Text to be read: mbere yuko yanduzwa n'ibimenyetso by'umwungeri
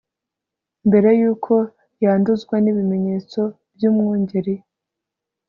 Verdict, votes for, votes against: accepted, 2, 1